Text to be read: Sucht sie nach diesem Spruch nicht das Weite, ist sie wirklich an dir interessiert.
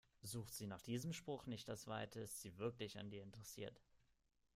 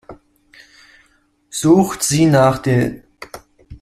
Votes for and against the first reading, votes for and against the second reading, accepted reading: 2, 0, 0, 2, first